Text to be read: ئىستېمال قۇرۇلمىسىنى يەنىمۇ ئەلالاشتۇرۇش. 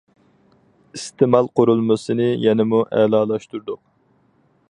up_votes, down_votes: 0, 4